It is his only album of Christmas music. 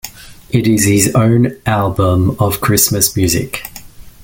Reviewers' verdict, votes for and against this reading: rejected, 0, 2